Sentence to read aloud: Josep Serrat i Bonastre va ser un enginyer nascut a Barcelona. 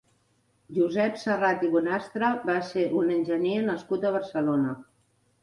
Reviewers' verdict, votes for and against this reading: rejected, 1, 2